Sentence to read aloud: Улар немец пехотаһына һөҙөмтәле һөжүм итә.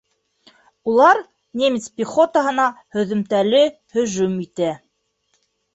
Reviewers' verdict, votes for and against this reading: accepted, 3, 0